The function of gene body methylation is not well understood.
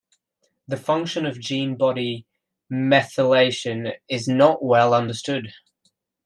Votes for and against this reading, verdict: 1, 2, rejected